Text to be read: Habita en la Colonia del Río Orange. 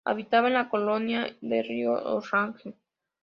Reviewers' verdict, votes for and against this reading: rejected, 0, 2